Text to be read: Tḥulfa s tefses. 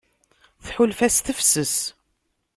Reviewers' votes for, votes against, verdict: 2, 0, accepted